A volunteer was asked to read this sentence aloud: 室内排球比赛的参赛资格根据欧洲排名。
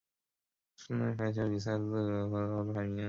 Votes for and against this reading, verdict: 0, 2, rejected